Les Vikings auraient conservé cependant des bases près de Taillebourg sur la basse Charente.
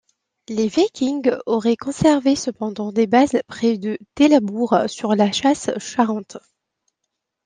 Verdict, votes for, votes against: rejected, 0, 2